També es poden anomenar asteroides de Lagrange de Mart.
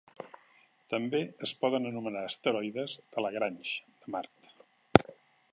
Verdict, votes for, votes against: rejected, 1, 2